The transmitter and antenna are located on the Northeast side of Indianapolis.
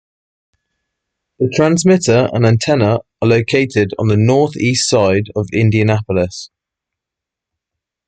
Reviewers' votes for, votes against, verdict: 2, 0, accepted